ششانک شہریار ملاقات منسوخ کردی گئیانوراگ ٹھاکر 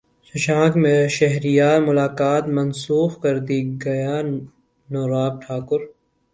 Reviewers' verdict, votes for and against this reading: accepted, 2, 0